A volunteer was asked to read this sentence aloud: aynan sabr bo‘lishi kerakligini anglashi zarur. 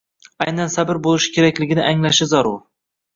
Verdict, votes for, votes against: rejected, 1, 2